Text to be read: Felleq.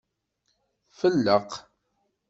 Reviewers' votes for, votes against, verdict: 2, 0, accepted